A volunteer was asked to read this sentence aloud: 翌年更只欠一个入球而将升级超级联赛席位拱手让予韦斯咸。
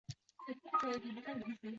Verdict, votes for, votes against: rejected, 0, 2